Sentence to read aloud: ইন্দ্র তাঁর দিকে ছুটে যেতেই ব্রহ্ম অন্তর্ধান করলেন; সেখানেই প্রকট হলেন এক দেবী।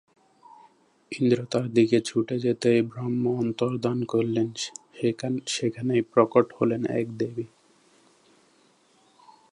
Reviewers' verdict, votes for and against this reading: rejected, 0, 2